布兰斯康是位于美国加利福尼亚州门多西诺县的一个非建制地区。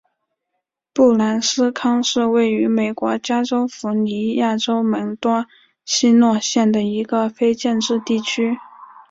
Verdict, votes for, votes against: rejected, 3, 3